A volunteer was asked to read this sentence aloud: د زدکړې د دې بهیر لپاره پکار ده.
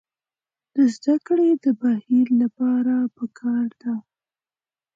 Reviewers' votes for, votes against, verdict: 2, 1, accepted